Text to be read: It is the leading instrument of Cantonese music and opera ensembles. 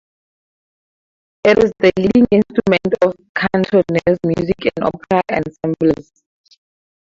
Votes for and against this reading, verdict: 4, 0, accepted